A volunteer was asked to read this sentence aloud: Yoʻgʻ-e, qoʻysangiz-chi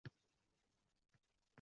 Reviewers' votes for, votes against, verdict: 0, 2, rejected